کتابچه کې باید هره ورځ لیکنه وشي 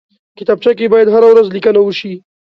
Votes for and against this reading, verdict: 2, 0, accepted